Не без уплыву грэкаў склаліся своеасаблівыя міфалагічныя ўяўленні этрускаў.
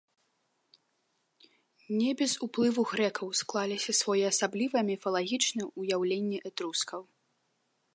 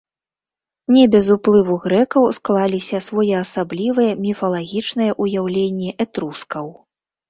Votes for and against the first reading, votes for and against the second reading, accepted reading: 2, 0, 0, 2, first